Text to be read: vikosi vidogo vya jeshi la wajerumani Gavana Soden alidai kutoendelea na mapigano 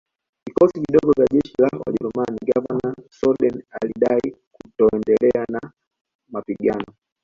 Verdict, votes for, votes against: accepted, 2, 1